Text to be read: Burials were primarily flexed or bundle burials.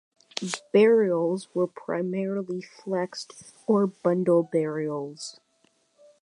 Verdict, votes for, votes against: accepted, 3, 0